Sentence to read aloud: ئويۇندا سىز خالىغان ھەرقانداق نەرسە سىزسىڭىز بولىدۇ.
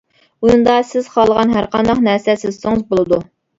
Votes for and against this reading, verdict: 0, 2, rejected